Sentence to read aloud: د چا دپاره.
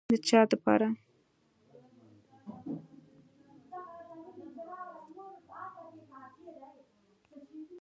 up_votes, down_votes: 0, 2